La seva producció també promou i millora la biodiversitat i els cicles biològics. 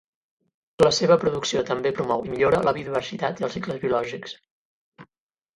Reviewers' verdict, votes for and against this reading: rejected, 4, 4